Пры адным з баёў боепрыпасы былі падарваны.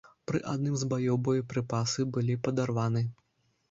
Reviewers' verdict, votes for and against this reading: accepted, 2, 0